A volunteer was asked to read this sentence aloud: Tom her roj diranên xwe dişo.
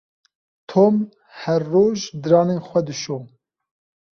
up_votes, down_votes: 2, 0